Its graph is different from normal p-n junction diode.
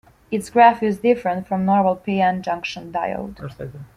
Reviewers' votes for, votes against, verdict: 1, 2, rejected